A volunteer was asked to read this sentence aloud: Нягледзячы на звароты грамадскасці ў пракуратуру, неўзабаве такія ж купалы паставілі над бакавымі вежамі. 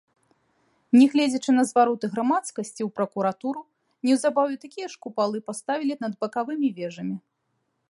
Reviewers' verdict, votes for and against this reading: rejected, 1, 2